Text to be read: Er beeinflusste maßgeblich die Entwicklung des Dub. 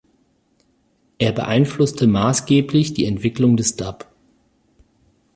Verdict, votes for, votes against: accepted, 4, 0